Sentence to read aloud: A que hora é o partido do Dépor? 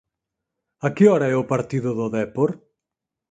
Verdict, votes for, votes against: accepted, 4, 0